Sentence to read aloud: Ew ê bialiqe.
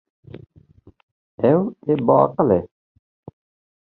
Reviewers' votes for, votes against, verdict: 2, 0, accepted